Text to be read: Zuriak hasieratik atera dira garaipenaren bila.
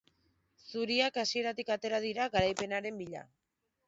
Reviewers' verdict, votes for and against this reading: accepted, 2, 0